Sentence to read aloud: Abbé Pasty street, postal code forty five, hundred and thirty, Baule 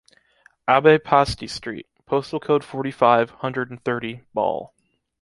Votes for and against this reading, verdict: 2, 0, accepted